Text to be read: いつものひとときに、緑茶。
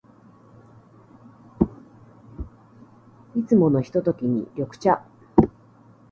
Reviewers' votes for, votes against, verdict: 1, 2, rejected